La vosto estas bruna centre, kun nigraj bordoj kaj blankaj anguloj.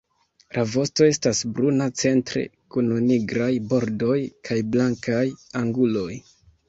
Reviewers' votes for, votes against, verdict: 0, 2, rejected